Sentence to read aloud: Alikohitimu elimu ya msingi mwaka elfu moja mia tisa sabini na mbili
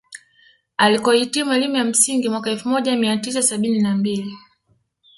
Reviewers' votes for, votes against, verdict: 2, 1, accepted